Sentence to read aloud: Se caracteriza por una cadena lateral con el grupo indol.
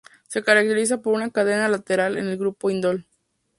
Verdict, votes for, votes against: rejected, 0, 2